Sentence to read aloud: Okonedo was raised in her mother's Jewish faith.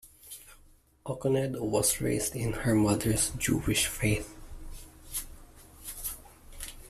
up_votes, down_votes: 2, 0